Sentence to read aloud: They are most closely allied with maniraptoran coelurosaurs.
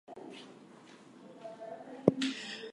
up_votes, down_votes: 0, 4